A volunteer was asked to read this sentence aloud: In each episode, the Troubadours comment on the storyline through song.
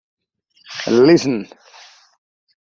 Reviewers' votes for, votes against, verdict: 0, 2, rejected